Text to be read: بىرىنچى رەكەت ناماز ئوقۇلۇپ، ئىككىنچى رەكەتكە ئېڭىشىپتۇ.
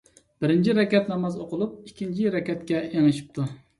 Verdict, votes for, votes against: accepted, 2, 0